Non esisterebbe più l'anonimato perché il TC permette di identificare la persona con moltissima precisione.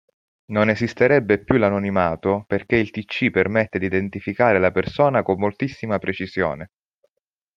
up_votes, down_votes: 2, 0